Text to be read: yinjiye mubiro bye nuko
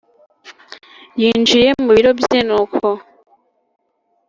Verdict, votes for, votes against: accepted, 3, 0